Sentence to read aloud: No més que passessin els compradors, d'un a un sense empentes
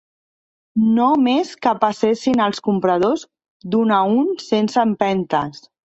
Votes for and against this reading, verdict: 1, 2, rejected